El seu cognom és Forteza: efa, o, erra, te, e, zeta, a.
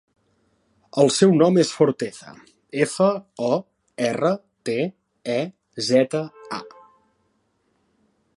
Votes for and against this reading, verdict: 1, 2, rejected